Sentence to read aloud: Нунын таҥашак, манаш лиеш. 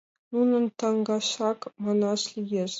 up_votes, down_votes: 2, 0